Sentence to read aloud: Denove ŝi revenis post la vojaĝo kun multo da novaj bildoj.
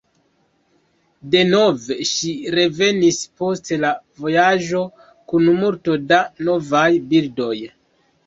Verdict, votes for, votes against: accepted, 2, 0